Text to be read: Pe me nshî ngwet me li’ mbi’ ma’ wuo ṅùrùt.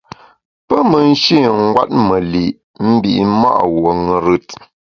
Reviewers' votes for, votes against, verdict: 2, 0, accepted